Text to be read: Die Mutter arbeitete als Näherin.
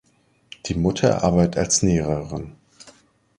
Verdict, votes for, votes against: rejected, 1, 2